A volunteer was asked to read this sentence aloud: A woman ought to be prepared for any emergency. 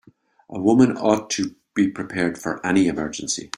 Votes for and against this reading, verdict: 2, 0, accepted